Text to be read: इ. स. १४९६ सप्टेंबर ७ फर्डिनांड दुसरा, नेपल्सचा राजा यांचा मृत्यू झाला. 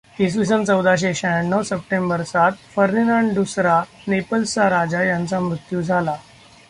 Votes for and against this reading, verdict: 0, 2, rejected